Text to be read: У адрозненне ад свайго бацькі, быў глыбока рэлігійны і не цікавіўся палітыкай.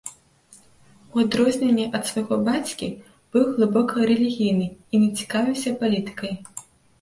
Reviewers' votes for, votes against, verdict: 2, 0, accepted